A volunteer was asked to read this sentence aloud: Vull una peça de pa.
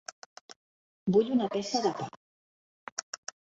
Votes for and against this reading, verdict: 2, 1, accepted